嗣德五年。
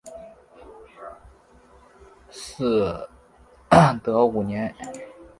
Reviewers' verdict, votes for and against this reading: accepted, 2, 1